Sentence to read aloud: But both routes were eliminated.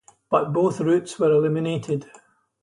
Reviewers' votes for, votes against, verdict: 4, 0, accepted